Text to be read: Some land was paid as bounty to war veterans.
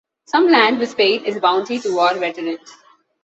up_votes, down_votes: 2, 0